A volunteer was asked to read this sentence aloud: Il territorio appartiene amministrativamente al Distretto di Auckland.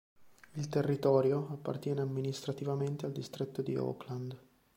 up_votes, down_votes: 2, 0